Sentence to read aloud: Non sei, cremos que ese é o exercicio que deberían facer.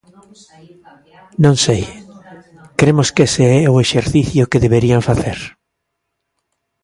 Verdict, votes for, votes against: rejected, 1, 2